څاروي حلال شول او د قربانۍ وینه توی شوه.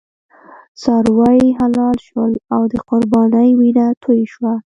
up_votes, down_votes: 3, 1